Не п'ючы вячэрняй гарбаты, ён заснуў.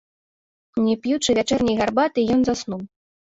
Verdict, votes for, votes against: accepted, 2, 0